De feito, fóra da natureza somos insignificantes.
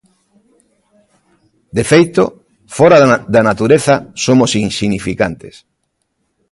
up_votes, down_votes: 1, 2